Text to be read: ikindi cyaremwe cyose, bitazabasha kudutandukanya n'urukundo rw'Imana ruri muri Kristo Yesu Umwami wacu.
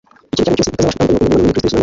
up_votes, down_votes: 0, 2